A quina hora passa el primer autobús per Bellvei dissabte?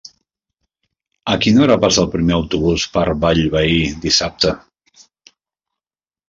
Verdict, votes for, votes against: rejected, 1, 2